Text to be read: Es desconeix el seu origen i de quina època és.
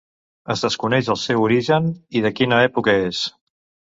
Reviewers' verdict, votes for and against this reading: accepted, 2, 0